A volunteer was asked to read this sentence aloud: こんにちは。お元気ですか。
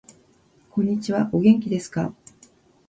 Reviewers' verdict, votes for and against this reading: rejected, 1, 2